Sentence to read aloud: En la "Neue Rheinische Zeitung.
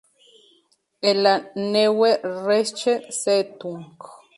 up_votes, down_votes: 0, 2